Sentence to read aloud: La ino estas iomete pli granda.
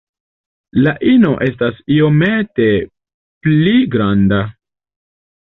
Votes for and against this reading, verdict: 2, 0, accepted